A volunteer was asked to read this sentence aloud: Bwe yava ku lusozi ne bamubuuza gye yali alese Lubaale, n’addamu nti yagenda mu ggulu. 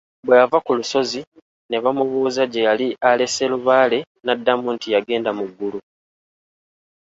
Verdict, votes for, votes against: accepted, 3, 0